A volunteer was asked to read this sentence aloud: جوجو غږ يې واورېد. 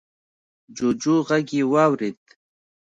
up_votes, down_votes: 2, 0